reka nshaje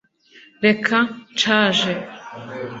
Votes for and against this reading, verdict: 2, 0, accepted